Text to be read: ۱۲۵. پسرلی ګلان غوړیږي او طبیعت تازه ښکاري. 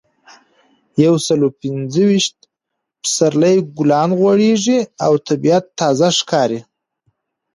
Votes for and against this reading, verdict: 0, 2, rejected